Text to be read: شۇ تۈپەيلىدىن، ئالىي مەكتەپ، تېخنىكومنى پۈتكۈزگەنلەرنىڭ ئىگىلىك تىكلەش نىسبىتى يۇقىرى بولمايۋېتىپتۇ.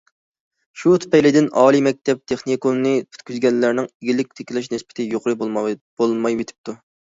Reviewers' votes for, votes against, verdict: 0, 2, rejected